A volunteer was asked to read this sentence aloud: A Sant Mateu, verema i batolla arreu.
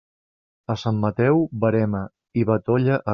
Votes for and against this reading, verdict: 0, 2, rejected